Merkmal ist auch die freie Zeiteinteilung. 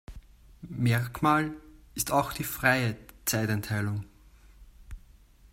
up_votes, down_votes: 1, 2